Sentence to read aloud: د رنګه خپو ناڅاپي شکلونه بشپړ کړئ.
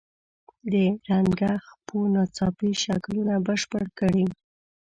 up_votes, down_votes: 1, 2